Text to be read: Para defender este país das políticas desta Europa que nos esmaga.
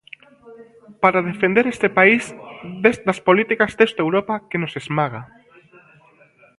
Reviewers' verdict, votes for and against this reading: rejected, 0, 2